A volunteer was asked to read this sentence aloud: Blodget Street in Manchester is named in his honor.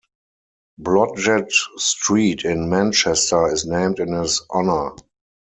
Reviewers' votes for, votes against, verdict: 2, 4, rejected